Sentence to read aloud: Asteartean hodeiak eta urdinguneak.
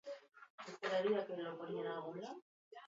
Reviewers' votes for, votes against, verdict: 0, 4, rejected